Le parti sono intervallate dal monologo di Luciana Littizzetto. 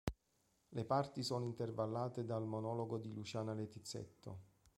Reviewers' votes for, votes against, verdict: 2, 0, accepted